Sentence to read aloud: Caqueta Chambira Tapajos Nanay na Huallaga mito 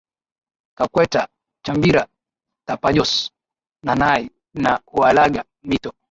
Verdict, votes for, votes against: accepted, 2, 0